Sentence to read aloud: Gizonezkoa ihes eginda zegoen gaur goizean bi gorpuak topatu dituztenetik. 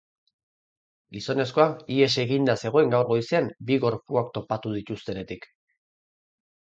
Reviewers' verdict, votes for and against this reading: accepted, 4, 0